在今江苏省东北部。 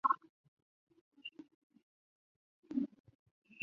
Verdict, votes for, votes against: rejected, 0, 2